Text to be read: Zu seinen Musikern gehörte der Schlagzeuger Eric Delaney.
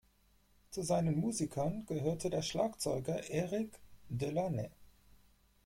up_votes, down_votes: 2, 4